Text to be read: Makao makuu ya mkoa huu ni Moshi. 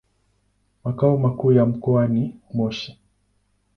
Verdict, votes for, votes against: accepted, 2, 0